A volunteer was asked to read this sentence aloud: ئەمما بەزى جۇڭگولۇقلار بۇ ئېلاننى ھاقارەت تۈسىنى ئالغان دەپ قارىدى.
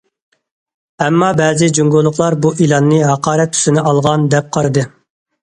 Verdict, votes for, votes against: accepted, 2, 0